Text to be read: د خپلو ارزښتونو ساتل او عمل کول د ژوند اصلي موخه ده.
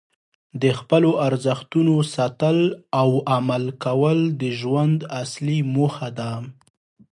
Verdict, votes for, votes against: accepted, 2, 0